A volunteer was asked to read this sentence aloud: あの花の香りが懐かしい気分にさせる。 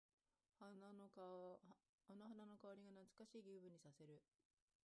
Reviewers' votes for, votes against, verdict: 0, 2, rejected